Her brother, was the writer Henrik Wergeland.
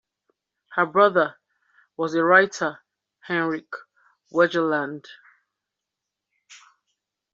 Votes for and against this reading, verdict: 2, 0, accepted